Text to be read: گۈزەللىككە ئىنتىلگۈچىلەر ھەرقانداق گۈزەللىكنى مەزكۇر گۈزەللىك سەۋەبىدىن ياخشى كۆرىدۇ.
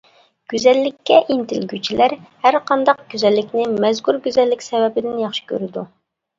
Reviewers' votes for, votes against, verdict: 2, 0, accepted